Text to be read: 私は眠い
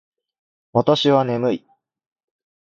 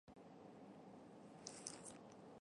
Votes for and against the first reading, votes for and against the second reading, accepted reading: 2, 0, 0, 2, first